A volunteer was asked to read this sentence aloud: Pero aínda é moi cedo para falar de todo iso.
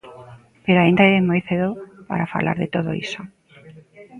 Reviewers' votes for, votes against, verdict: 0, 2, rejected